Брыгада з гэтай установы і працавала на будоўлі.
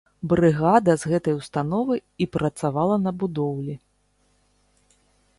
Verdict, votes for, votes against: accepted, 2, 0